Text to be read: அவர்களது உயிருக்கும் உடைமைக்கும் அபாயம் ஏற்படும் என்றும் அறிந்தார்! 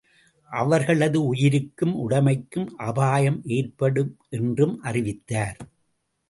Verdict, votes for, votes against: rejected, 3, 5